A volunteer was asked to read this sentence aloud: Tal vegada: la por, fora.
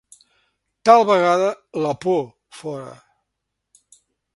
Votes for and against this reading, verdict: 3, 0, accepted